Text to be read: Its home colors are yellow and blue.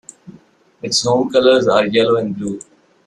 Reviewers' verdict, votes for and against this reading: accepted, 2, 0